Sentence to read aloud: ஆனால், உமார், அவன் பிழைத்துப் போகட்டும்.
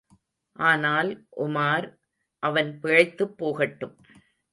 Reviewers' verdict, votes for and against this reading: accepted, 2, 0